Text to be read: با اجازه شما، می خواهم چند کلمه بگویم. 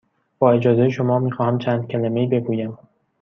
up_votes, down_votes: 1, 2